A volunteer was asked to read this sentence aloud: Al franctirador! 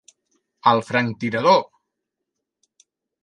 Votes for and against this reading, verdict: 2, 0, accepted